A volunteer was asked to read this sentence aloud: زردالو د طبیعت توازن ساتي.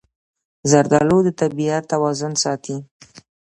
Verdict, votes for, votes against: accepted, 2, 0